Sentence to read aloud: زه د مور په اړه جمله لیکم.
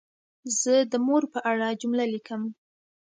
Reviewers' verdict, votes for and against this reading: accepted, 2, 0